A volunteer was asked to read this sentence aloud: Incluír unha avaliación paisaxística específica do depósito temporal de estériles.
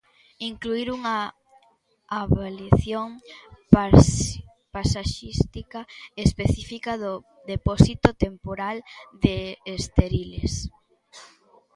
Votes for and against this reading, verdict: 0, 2, rejected